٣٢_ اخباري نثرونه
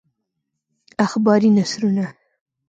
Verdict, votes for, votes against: rejected, 0, 2